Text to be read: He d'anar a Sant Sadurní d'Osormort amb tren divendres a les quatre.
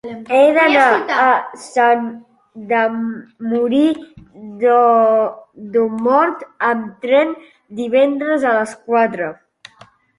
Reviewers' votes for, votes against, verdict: 0, 3, rejected